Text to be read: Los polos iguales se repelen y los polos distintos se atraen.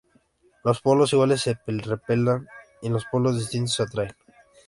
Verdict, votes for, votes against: rejected, 0, 2